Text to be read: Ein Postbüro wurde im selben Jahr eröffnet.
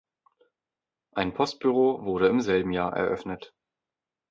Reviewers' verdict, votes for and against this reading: accepted, 2, 0